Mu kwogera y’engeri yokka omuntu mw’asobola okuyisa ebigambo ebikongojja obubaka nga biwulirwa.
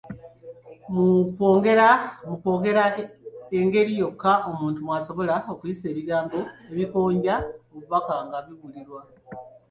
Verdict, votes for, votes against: rejected, 0, 2